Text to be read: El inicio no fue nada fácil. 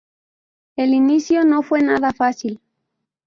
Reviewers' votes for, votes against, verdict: 2, 0, accepted